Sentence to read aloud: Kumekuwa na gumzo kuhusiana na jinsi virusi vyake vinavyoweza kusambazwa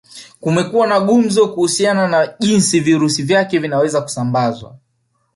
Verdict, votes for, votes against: accepted, 2, 0